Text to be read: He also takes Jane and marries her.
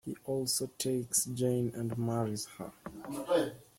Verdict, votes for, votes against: rejected, 1, 2